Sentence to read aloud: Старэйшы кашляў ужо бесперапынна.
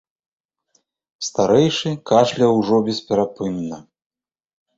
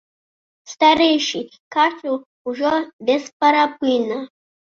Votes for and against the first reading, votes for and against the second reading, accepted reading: 4, 0, 1, 2, first